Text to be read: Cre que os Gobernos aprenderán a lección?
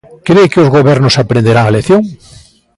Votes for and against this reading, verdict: 2, 1, accepted